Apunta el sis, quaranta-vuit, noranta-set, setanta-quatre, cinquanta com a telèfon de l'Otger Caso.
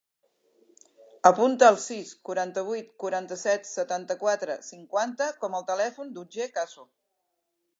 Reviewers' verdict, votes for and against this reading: rejected, 0, 3